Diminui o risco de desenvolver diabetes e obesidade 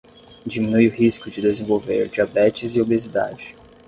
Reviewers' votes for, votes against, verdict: 10, 0, accepted